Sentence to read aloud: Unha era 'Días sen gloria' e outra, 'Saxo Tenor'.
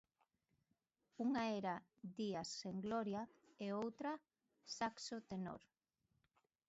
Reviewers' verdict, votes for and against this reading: accepted, 2, 0